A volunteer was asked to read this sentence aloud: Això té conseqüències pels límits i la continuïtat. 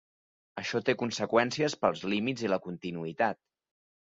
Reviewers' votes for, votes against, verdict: 3, 0, accepted